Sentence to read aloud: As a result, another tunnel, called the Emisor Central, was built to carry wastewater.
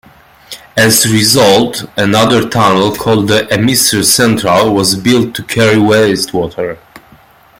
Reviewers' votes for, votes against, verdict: 2, 0, accepted